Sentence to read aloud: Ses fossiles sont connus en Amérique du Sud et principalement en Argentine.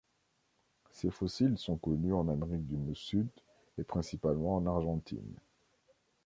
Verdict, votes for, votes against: rejected, 1, 2